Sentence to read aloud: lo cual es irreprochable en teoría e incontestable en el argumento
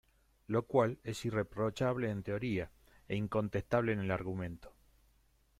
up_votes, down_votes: 2, 0